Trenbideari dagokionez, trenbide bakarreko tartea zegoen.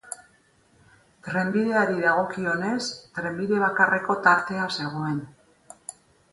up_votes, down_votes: 4, 0